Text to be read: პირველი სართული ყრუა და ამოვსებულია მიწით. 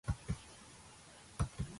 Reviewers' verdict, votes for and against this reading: rejected, 0, 2